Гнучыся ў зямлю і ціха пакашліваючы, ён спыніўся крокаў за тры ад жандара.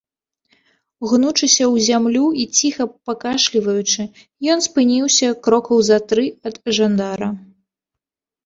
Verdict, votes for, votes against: accepted, 2, 0